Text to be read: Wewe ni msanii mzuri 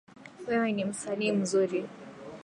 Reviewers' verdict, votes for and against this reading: accepted, 9, 1